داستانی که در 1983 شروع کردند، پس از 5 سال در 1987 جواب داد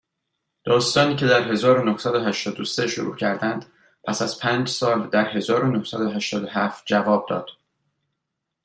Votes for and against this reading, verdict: 0, 2, rejected